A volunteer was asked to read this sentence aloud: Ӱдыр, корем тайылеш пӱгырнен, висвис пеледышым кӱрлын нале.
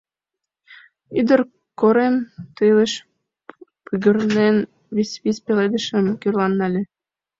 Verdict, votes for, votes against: rejected, 1, 2